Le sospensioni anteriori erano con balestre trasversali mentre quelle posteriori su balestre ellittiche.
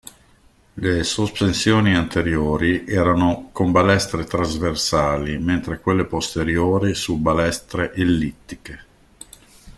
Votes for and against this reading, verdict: 1, 2, rejected